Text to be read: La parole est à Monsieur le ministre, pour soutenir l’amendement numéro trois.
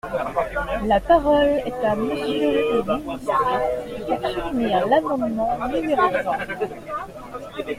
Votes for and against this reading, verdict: 2, 0, accepted